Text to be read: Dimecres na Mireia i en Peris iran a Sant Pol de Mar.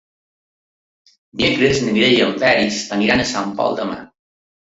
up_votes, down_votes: 0, 2